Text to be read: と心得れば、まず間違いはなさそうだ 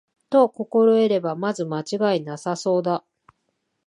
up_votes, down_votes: 2, 0